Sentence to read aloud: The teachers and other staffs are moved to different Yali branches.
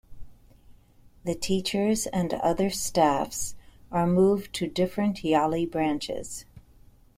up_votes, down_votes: 2, 0